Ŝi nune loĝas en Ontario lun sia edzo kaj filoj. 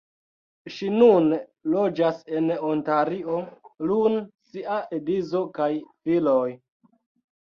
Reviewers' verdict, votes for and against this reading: accepted, 2, 0